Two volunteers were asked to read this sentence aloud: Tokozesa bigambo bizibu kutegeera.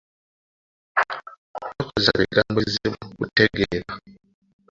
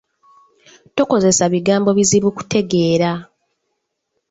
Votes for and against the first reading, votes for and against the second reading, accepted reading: 1, 2, 3, 0, second